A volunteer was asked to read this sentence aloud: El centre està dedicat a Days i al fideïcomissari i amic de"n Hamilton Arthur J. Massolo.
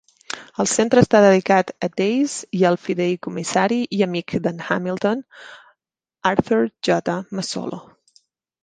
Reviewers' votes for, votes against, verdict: 0, 2, rejected